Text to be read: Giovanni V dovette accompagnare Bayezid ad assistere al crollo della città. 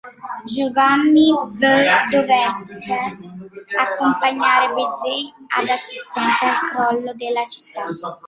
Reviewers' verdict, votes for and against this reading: rejected, 0, 2